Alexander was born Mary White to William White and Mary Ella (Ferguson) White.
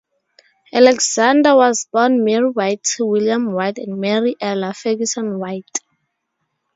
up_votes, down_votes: 2, 2